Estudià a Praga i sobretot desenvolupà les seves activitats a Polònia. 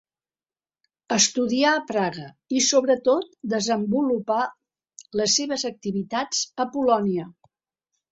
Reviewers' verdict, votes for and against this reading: accepted, 2, 0